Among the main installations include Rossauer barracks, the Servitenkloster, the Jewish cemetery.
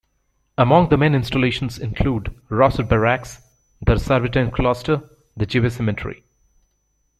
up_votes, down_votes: 0, 2